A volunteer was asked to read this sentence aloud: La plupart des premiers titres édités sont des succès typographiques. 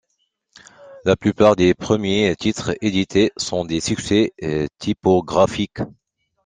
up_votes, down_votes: 2, 1